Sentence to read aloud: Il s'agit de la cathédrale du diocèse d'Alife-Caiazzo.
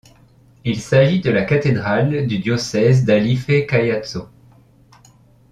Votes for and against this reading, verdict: 2, 0, accepted